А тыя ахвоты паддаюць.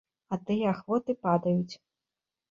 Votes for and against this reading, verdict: 1, 2, rejected